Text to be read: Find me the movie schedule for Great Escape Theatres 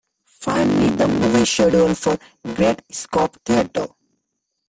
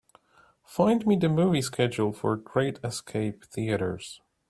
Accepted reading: second